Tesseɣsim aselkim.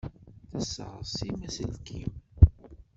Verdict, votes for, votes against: rejected, 1, 2